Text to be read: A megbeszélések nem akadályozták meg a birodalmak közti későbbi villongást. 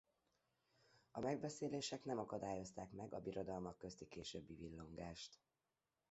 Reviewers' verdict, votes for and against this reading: rejected, 0, 2